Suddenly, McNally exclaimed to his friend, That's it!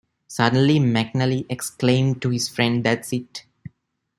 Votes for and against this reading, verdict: 2, 1, accepted